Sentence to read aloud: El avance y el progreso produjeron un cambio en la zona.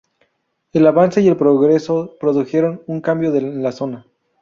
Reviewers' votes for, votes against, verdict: 0, 4, rejected